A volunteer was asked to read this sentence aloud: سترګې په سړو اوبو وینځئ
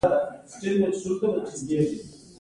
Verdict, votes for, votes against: accepted, 2, 0